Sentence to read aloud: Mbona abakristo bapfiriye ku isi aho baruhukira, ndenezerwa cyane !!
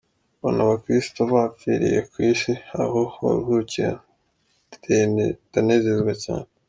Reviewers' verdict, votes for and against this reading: rejected, 1, 3